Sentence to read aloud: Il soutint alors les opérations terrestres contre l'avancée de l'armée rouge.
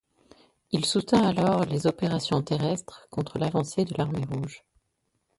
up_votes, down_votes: 2, 0